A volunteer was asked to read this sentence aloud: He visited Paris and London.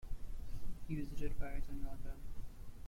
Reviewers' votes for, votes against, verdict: 1, 2, rejected